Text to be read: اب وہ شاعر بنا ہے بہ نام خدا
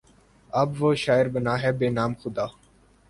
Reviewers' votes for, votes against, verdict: 4, 0, accepted